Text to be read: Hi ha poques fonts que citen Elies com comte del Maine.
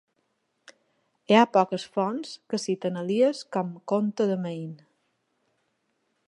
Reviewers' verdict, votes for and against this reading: rejected, 0, 2